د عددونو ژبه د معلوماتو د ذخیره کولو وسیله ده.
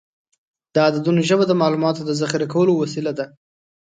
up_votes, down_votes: 2, 0